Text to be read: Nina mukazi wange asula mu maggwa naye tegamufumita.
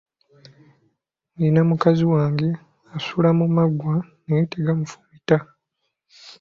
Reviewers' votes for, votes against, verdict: 2, 0, accepted